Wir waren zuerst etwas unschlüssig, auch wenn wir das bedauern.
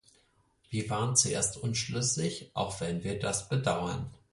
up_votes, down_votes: 2, 4